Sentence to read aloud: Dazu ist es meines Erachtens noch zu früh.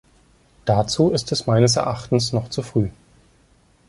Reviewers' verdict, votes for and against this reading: accepted, 2, 0